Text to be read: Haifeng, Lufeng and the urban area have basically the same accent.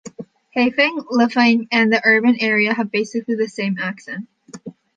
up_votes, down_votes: 2, 0